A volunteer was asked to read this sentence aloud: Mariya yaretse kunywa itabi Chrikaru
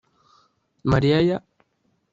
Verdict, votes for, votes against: rejected, 1, 2